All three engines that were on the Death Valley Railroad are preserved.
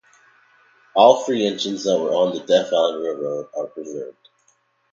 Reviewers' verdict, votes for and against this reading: accepted, 2, 0